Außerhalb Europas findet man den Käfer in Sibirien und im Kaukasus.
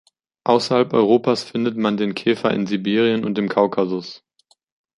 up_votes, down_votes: 3, 2